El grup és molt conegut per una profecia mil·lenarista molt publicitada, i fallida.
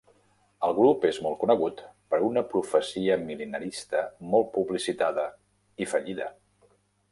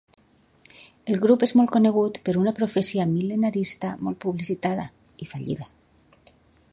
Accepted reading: second